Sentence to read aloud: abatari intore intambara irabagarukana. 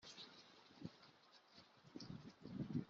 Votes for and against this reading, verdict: 0, 2, rejected